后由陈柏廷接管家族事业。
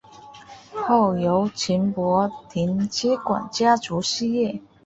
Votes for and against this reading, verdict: 2, 0, accepted